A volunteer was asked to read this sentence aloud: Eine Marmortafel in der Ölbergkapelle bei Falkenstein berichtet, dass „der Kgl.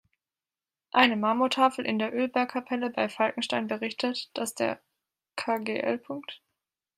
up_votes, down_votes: 2, 1